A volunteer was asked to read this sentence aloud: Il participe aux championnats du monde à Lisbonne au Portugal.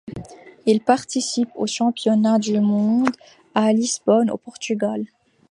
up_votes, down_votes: 2, 0